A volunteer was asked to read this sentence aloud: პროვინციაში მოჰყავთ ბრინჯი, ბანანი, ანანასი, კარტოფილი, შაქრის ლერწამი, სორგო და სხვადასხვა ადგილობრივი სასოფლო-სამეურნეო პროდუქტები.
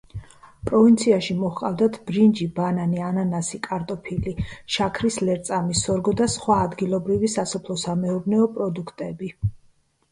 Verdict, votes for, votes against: rejected, 1, 2